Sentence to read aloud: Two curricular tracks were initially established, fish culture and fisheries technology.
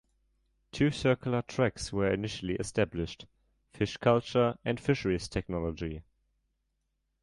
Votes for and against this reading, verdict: 1, 3, rejected